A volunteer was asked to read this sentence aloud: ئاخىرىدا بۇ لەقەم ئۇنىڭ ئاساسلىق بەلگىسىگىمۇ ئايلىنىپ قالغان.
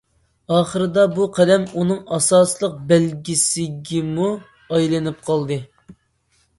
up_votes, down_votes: 0, 2